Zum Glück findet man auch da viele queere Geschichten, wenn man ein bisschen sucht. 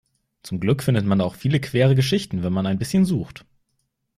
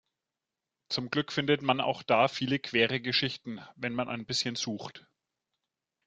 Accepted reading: second